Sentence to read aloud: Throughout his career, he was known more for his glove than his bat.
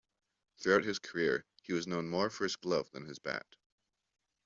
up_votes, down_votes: 2, 1